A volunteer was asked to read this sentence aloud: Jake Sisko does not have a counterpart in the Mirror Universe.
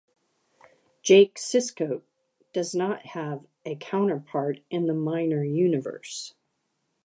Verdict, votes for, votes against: rejected, 1, 2